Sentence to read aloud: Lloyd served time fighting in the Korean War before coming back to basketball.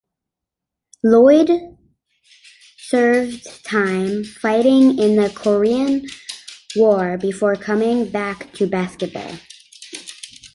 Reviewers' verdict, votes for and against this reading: accepted, 2, 0